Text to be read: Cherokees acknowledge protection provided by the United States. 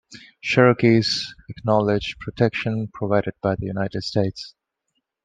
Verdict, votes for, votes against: accepted, 2, 0